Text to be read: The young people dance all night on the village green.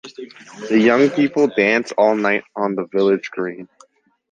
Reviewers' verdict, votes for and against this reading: rejected, 2, 2